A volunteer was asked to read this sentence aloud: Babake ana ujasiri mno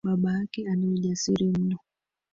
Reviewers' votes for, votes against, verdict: 1, 2, rejected